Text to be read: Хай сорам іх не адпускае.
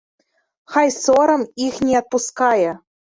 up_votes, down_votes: 2, 0